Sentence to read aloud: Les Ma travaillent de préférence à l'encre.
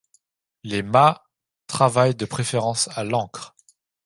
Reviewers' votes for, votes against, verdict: 2, 0, accepted